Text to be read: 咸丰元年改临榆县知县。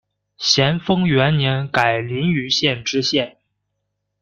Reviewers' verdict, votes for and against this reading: accepted, 2, 0